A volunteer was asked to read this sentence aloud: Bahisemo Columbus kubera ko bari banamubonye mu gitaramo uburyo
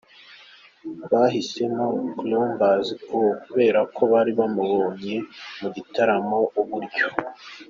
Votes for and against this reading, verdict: 2, 1, accepted